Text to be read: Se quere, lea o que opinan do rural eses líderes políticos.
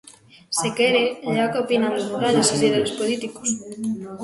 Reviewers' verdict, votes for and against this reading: rejected, 0, 2